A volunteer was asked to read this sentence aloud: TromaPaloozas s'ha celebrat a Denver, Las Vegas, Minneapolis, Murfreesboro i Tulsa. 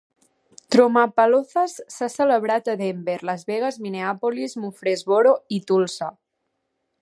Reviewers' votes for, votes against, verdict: 2, 0, accepted